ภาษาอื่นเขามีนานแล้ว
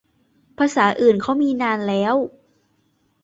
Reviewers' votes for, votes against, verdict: 2, 0, accepted